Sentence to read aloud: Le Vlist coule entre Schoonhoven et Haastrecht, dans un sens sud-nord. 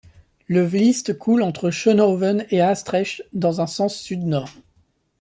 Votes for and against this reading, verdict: 2, 1, accepted